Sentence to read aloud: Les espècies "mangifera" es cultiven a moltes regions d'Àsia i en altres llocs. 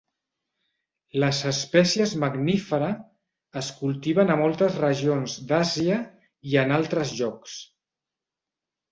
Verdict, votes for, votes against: rejected, 0, 2